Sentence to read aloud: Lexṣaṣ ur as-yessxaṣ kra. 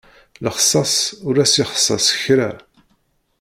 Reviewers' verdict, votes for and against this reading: rejected, 0, 2